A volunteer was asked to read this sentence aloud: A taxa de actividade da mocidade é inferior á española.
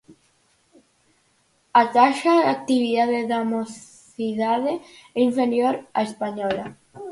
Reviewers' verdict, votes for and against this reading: accepted, 4, 0